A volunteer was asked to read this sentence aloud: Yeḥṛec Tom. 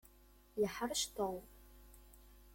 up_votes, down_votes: 1, 2